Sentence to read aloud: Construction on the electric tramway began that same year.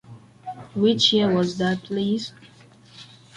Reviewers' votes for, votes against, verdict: 0, 2, rejected